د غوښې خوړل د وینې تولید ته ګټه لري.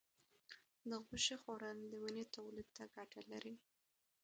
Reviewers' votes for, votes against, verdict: 1, 2, rejected